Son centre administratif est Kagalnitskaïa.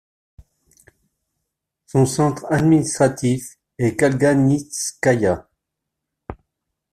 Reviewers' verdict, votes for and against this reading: rejected, 1, 2